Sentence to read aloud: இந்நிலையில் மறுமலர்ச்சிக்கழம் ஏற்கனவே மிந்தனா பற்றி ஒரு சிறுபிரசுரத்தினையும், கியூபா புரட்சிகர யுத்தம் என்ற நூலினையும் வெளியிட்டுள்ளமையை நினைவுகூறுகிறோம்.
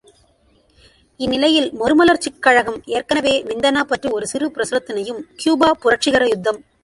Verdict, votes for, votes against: rejected, 0, 2